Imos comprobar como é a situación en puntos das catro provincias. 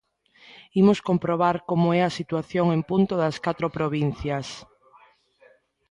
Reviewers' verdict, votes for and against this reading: rejected, 0, 2